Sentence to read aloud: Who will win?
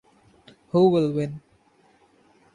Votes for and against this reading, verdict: 2, 0, accepted